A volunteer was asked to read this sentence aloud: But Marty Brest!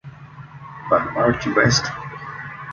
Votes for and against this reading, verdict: 1, 2, rejected